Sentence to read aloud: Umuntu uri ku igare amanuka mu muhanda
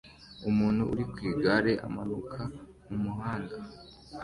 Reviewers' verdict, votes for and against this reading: accepted, 2, 0